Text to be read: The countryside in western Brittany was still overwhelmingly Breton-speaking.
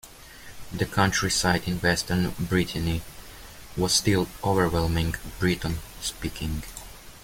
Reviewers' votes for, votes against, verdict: 1, 2, rejected